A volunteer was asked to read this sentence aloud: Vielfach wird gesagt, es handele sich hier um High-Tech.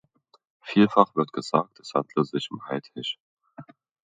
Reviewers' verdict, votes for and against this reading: rejected, 1, 2